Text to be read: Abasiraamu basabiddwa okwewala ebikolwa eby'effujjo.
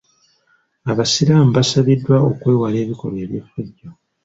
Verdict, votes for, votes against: accepted, 4, 0